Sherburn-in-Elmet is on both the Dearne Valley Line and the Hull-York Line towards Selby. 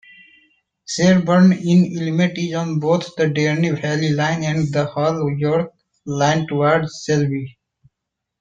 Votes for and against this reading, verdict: 0, 2, rejected